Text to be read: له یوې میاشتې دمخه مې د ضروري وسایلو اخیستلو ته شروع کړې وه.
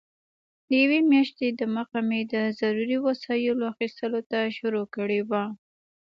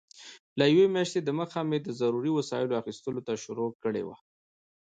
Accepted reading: first